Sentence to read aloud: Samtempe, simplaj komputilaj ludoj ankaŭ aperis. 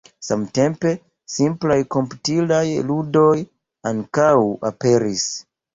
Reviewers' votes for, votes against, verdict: 1, 2, rejected